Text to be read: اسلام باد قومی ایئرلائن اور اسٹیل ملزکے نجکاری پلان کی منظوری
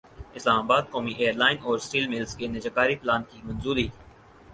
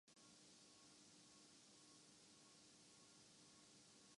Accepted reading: first